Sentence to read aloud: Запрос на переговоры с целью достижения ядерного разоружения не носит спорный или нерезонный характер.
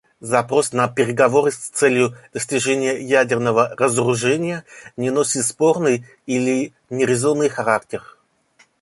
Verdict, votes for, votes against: accepted, 2, 0